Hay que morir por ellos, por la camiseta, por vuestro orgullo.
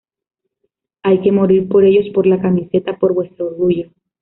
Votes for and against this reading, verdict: 0, 2, rejected